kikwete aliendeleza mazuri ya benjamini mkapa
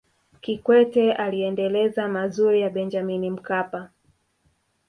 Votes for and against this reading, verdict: 2, 0, accepted